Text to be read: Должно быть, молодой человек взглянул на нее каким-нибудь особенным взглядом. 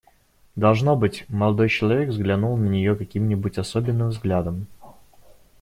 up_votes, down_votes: 2, 1